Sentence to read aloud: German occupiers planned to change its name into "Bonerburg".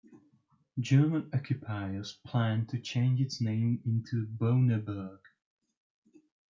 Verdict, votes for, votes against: rejected, 1, 2